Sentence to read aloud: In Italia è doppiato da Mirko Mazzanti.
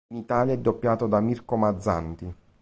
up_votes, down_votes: 1, 2